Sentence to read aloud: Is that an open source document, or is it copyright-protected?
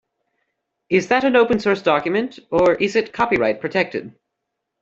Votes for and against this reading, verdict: 2, 0, accepted